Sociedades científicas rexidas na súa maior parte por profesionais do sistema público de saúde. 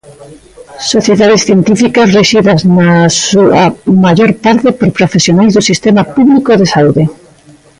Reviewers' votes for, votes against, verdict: 0, 2, rejected